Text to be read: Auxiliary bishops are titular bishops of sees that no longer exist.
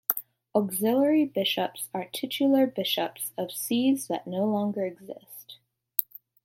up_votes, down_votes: 2, 0